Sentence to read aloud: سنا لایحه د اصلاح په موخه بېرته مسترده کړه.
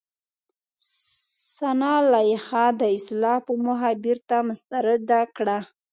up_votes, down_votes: 2, 3